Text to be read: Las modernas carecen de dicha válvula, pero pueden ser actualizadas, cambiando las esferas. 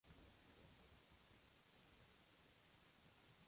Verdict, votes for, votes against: rejected, 0, 2